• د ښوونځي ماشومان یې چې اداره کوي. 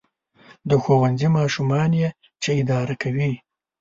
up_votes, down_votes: 2, 0